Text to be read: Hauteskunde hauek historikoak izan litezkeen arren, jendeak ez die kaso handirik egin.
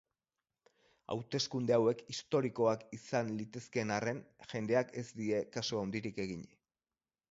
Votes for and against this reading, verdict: 4, 0, accepted